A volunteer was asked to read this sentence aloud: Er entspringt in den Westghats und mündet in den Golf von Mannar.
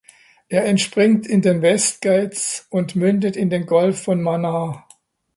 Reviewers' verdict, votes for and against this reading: accepted, 2, 0